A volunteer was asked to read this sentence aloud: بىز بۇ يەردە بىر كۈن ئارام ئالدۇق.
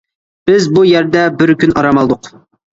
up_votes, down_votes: 2, 0